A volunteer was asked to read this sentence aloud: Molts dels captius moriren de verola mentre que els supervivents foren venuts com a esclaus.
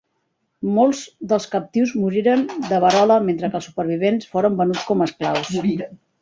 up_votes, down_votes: 1, 2